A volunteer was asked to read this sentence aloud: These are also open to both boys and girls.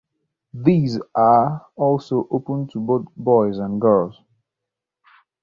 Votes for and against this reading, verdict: 2, 0, accepted